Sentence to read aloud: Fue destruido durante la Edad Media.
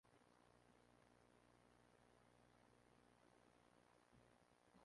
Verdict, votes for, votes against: rejected, 0, 2